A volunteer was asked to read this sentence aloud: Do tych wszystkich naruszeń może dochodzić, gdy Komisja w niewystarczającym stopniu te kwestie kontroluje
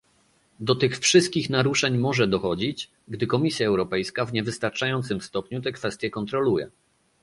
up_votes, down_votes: 0, 2